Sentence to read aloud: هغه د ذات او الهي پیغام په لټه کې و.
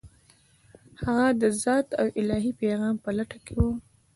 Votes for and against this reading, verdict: 2, 0, accepted